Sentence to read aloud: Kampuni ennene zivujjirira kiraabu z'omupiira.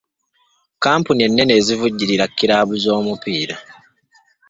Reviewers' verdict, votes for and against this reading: accepted, 2, 0